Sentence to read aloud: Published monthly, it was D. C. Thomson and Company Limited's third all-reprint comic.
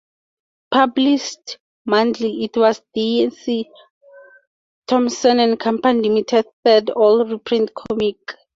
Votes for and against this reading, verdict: 0, 4, rejected